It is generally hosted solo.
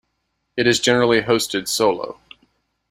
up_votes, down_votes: 2, 0